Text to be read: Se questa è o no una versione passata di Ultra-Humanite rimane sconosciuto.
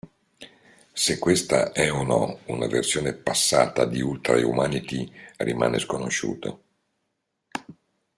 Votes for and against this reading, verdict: 2, 0, accepted